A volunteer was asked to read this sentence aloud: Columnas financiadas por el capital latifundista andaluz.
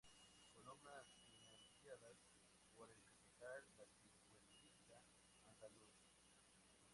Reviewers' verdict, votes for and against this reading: rejected, 0, 6